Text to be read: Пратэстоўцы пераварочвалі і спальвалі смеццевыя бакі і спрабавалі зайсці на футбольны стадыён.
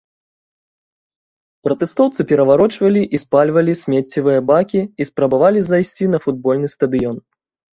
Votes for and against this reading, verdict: 1, 2, rejected